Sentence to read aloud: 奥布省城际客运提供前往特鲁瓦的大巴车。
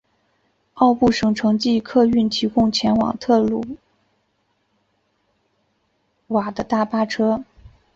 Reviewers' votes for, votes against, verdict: 2, 1, accepted